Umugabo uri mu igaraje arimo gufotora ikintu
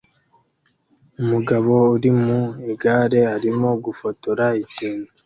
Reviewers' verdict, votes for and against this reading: rejected, 0, 2